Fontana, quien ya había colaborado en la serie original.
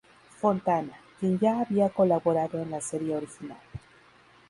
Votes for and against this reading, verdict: 2, 0, accepted